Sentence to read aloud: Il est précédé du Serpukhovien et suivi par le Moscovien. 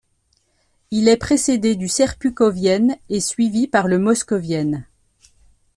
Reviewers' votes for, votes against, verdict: 1, 2, rejected